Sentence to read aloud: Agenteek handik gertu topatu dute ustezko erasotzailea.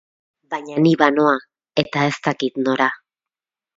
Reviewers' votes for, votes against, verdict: 0, 4, rejected